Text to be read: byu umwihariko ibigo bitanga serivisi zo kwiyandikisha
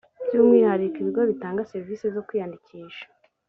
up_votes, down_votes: 2, 0